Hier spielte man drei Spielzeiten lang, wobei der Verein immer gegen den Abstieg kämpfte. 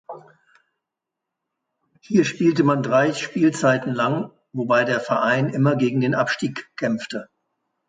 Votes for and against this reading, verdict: 4, 0, accepted